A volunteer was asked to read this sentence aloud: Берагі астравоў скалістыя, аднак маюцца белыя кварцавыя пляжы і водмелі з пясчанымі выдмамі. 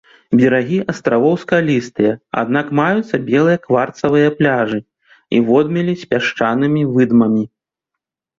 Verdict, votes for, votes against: accepted, 2, 0